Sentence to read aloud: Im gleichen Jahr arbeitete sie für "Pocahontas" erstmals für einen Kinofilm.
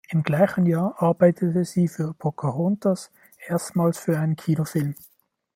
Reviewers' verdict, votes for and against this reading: accepted, 2, 0